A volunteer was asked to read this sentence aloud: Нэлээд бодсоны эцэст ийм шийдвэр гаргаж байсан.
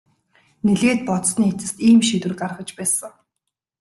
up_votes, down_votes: 2, 0